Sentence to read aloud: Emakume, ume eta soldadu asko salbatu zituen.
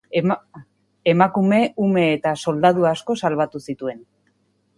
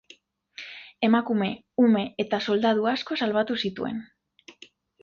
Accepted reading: second